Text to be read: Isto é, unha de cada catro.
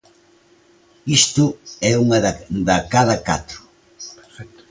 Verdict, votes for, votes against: rejected, 1, 2